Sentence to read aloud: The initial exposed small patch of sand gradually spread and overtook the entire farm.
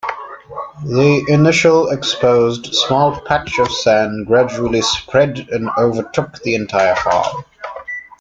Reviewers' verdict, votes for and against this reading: rejected, 0, 2